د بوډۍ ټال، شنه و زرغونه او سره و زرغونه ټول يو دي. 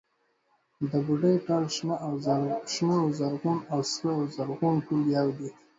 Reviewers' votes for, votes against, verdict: 1, 2, rejected